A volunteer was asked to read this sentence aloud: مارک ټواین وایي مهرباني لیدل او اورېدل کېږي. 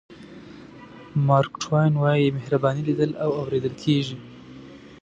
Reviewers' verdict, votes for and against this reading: rejected, 1, 2